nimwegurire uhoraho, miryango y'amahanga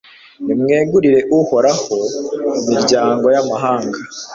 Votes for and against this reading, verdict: 2, 0, accepted